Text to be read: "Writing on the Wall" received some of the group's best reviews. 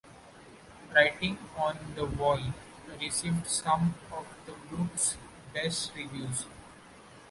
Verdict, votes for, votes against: accepted, 2, 0